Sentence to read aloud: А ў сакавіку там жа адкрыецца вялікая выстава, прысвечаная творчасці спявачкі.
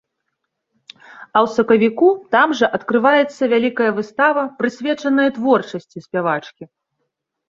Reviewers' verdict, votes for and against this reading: rejected, 0, 2